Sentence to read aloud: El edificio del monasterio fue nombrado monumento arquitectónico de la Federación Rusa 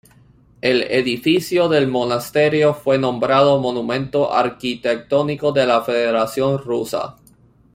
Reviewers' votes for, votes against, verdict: 2, 0, accepted